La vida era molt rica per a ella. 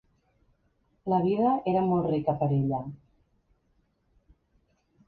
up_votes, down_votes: 6, 0